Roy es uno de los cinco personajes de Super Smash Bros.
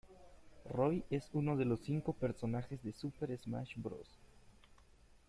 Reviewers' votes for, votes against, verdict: 0, 2, rejected